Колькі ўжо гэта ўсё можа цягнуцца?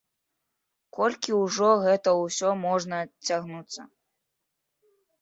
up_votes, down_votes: 0, 2